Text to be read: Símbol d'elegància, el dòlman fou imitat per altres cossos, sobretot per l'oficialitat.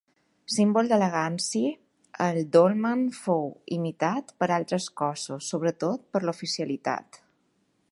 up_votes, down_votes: 0, 2